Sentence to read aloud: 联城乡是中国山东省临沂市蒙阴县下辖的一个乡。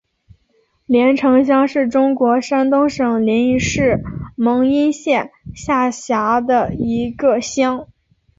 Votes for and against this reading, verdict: 2, 1, accepted